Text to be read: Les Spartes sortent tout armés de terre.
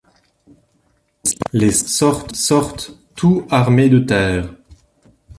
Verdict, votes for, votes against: rejected, 0, 2